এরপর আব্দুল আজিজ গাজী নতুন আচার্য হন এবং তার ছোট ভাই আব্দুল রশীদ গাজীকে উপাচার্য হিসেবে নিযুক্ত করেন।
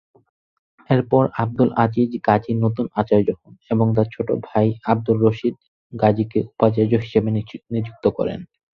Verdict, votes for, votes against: rejected, 2, 4